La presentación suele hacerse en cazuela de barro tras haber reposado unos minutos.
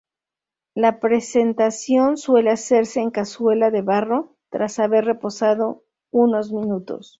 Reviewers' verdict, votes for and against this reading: accepted, 2, 0